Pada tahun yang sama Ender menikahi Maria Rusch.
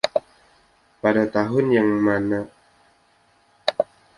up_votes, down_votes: 0, 2